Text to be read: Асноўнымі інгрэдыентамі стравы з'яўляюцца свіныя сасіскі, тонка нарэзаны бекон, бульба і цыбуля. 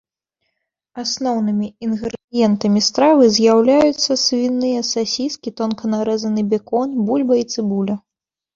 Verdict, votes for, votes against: rejected, 1, 2